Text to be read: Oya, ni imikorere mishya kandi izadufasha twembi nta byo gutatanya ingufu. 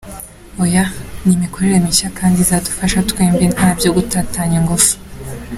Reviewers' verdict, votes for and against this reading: accepted, 2, 0